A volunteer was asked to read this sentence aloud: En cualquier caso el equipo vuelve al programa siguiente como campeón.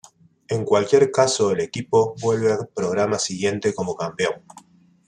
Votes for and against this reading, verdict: 1, 2, rejected